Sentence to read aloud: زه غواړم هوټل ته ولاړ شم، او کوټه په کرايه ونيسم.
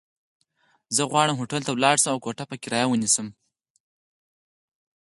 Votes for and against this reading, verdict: 4, 0, accepted